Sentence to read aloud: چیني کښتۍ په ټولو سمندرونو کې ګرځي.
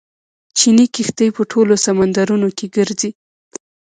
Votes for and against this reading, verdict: 0, 2, rejected